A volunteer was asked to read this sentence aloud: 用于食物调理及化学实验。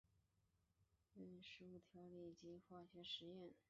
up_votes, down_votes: 1, 4